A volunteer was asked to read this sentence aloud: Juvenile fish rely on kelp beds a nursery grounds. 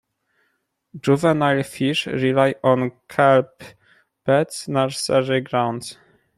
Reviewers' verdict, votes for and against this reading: rejected, 1, 2